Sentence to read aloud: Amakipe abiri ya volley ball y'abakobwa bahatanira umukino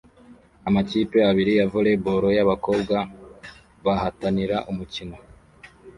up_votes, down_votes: 2, 0